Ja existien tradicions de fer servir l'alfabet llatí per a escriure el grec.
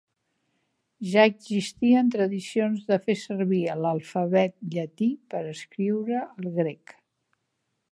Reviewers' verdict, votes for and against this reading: rejected, 0, 2